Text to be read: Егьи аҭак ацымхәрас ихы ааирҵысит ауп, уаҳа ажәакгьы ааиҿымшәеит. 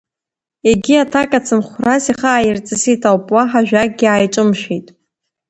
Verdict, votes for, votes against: rejected, 1, 2